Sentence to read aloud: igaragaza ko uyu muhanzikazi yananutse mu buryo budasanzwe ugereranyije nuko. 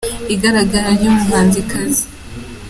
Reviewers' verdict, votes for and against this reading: rejected, 1, 3